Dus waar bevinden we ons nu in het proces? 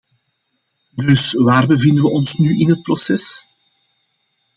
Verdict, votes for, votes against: accepted, 2, 0